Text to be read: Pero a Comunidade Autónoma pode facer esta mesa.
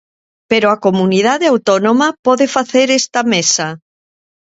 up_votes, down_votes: 2, 0